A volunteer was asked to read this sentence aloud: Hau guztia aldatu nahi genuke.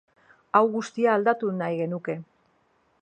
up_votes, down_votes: 2, 0